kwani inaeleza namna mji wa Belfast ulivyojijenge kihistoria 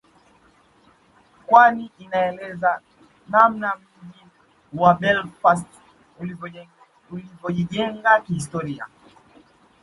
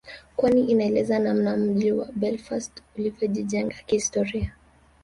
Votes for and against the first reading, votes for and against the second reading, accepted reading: 0, 2, 2, 0, second